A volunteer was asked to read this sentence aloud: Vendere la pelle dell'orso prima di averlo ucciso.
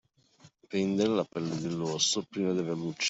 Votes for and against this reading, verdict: 0, 2, rejected